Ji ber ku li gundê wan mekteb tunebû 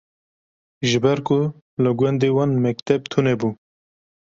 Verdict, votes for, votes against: accepted, 2, 0